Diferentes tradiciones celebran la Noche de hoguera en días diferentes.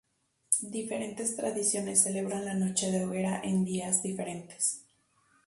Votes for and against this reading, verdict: 0, 2, rejected